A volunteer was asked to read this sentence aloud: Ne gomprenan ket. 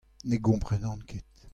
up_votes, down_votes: 2, 0